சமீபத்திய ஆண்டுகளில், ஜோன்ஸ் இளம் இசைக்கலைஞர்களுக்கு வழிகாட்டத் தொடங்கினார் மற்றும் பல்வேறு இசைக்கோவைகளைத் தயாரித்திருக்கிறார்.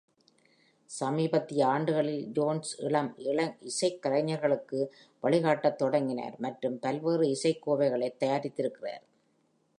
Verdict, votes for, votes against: rejected, 1, 2